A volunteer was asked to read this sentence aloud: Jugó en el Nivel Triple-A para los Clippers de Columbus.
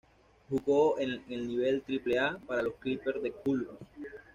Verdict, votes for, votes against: rejected, 1, 2